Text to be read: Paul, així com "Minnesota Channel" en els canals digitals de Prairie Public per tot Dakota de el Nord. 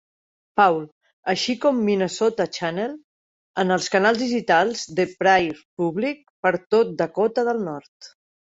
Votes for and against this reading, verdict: 2, 1, accepted